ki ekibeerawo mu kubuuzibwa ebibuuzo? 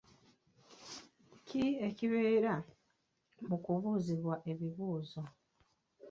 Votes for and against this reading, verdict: 1, 2, rejected